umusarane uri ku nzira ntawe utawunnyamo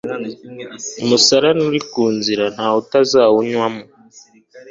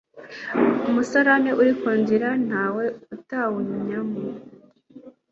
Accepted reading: second